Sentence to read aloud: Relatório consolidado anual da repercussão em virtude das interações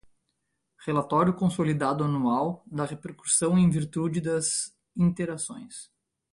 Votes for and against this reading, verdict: 2, 0, accepted